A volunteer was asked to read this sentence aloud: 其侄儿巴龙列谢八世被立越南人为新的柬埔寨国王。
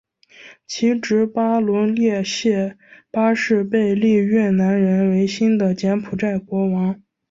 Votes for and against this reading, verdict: 3, 0, accepted